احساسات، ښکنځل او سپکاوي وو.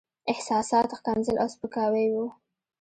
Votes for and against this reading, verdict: 1, 2, rejected